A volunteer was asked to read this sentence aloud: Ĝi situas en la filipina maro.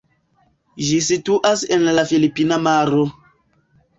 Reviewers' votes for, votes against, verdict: 2, 0, accepted